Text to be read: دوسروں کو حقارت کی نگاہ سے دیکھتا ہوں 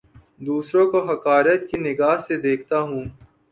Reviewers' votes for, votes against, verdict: 14, 0, accepted